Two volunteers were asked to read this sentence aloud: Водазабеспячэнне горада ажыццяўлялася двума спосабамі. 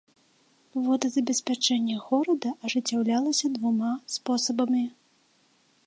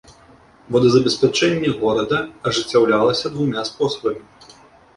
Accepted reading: first